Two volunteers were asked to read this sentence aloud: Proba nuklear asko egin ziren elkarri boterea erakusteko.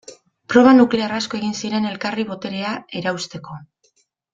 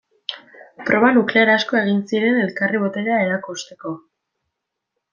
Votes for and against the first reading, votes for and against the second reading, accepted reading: 0, 2, 2, 0, second